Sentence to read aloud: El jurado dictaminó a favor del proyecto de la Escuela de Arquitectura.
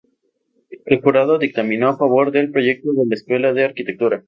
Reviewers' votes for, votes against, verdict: 2, 0, accepted